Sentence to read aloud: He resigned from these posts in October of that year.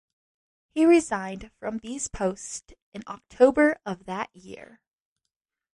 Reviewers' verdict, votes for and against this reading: accepted, 2, 0